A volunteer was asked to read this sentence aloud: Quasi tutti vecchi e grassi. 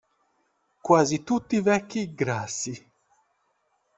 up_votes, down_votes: 1, 2